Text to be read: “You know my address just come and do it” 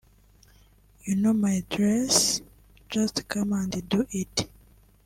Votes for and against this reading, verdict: 1, 2, rejected